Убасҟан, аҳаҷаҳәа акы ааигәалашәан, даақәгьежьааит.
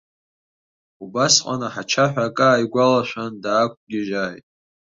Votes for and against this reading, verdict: 1, 3, rejected